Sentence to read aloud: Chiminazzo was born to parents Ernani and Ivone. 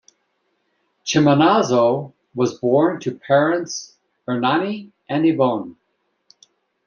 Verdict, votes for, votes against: accepted, 2, 0